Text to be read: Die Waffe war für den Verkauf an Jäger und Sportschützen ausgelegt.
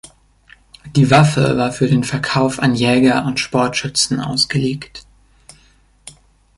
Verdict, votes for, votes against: accepted, 2, 0